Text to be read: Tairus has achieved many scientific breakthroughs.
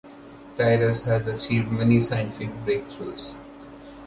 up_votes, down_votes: 0, 2